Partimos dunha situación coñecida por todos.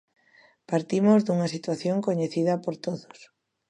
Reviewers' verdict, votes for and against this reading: accepted, 2, 0